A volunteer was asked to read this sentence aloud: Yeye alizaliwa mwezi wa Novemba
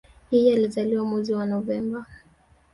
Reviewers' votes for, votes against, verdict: 2, 1, accepted